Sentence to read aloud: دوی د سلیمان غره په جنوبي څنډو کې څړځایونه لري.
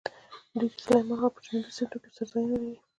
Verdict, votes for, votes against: accepted, 2, 0